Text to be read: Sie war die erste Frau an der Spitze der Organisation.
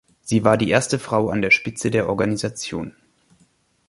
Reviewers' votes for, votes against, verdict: 2, 0, accepted